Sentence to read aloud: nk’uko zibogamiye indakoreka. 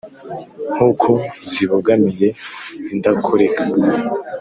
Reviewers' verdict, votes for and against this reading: accepted, 2, 0